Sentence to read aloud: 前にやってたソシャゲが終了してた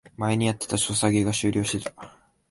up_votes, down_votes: 0, 2